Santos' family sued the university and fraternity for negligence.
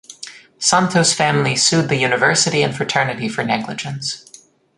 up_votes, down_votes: 2, 0